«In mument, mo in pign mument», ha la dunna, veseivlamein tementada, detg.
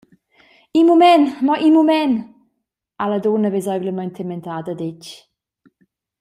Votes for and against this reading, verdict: 0, 2, rejected